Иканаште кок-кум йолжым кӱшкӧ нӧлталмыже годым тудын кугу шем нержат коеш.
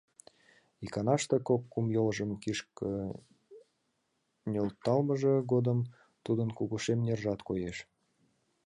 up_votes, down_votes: 0, 2